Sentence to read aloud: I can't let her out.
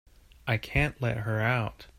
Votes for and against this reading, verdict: 2, 1, accepted